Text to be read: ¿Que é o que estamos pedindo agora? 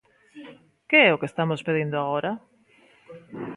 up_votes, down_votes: 2, 0